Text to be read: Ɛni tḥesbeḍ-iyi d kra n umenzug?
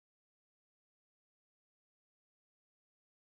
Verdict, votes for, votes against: rejected, 1, 2